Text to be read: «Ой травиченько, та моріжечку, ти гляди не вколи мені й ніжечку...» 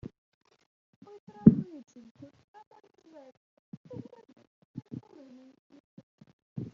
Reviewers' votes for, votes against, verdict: 0, 2, rejected